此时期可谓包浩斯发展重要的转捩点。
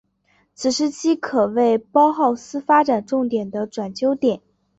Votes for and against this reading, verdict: 3, 0, accepted